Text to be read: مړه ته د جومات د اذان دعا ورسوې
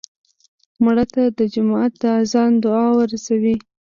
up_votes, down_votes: 0, 2